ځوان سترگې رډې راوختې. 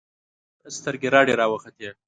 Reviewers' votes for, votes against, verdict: 1, 2, rejected